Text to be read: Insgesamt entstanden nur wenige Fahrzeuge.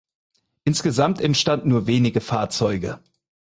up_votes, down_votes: 4, 0